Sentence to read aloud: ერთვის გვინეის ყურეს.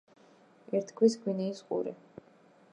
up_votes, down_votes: 0, 2